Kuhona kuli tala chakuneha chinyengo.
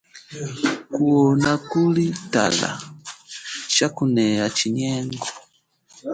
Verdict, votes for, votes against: rejected, 1, 2